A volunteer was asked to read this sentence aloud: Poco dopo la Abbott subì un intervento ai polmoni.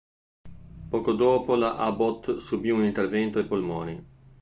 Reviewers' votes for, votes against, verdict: 2, 0, accepted